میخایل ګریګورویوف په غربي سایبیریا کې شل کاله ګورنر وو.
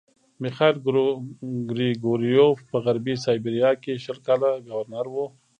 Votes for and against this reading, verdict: 1, 2, rejected